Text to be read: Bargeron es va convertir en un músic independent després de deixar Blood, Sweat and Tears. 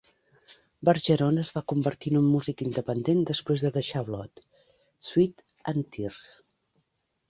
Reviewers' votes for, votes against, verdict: 1, 2, rejected